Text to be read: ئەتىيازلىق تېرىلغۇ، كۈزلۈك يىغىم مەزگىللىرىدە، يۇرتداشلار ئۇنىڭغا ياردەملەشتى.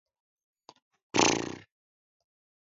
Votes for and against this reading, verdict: 0, 2, rejected